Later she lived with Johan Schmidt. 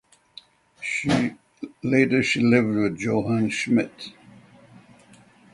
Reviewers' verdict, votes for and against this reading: rejected, 0, 3